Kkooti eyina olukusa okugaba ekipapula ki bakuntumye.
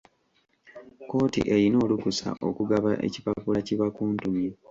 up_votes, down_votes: 2, 0